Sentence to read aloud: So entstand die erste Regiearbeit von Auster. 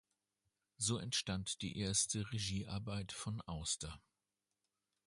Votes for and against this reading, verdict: 2, 0, accepted